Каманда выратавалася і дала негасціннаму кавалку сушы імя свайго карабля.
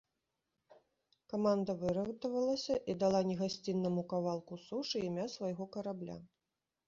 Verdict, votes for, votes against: rejected, 0, 2